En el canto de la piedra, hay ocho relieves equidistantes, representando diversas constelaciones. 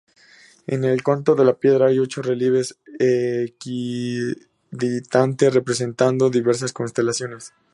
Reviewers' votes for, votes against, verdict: 0, 2, rejected